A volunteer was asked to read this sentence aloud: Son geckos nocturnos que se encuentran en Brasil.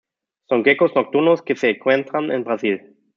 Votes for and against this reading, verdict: 2, 0, accepted